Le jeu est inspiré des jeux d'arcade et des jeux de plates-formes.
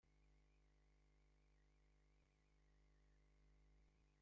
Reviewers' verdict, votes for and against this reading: rejected, 0, 2